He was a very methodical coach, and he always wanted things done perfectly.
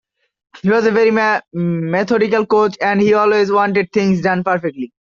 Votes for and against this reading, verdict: 2, 1, accepted